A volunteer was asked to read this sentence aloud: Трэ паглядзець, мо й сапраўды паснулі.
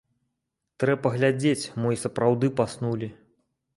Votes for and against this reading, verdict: 2, 0, accepted